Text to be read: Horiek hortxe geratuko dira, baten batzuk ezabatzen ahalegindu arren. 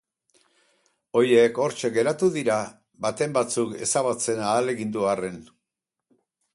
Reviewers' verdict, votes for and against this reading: rejected, 2, 2